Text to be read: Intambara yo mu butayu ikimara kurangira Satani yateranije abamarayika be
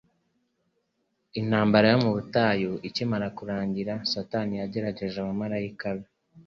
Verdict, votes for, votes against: accepted, 2, 1